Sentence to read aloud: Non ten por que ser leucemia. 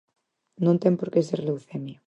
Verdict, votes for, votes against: accepted, 4, 0